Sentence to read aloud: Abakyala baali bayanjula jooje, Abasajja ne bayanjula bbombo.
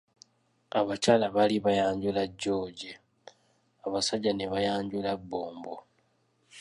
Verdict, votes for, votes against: accepted, 2, 1